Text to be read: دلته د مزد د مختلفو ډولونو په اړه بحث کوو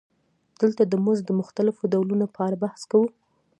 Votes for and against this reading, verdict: 0, 2, rejected